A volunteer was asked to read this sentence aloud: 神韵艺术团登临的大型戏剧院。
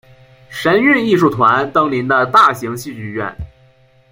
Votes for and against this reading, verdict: 0, 2, rejected